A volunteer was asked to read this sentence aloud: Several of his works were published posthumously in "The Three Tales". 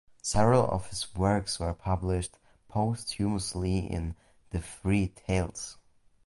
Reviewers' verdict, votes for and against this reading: rejected, 0, 2